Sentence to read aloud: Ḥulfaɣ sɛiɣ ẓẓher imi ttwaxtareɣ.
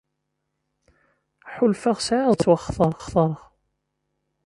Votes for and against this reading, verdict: 0, 2, rejected